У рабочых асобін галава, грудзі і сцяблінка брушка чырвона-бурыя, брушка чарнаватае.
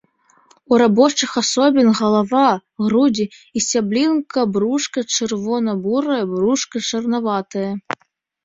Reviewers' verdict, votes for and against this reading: accepted, 2, 0